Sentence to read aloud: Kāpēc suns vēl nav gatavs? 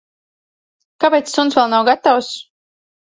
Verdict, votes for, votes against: accepted, 2, 0